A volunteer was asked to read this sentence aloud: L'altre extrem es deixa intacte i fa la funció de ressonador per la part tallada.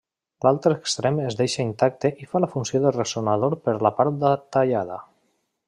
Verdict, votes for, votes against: rejected, 0, 2